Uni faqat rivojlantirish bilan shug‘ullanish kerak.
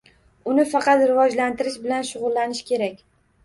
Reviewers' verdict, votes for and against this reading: accepted, 2, 0